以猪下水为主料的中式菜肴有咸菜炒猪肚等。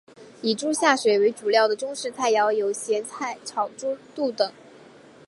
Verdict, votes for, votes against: accepted, 2, 0